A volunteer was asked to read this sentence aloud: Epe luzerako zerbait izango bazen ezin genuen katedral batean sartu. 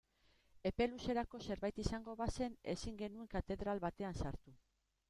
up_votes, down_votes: 0, 2